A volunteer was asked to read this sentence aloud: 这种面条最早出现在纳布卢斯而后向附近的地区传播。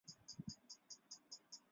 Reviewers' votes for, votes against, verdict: 0, 6, rejected